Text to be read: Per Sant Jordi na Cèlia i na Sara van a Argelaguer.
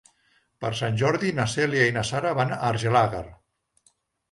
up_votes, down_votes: 1, 2